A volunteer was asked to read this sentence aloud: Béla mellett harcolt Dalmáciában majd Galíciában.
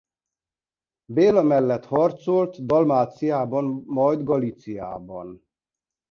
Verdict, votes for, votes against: rejected, 1, 2